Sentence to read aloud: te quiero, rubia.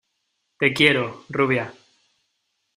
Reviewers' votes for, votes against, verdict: 2, 0, accepted